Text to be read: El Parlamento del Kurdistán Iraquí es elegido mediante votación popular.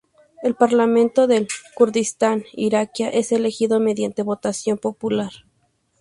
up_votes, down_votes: 2, 0